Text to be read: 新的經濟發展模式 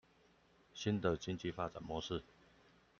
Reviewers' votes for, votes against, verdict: 1, 2, rejected